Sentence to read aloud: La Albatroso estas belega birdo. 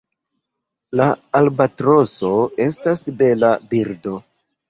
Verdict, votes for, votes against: rejected, 0, 2